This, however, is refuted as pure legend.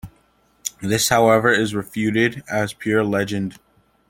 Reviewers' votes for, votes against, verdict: 2, 0, accepted